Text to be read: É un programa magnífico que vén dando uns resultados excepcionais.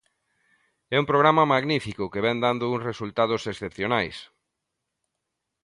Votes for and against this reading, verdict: 2, 0, accepted